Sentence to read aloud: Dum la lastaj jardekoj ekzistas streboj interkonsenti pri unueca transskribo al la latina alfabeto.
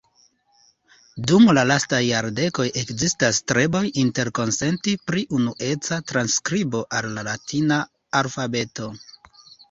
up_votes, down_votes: 2, 0